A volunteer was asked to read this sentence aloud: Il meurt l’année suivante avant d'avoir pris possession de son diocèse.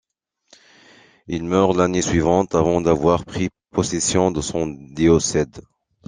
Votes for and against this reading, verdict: 0, 2, rejected